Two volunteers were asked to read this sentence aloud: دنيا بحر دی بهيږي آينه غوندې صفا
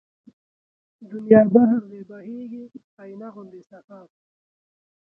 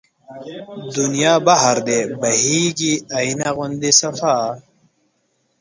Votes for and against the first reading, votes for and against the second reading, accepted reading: 3, 1, 1, 2, first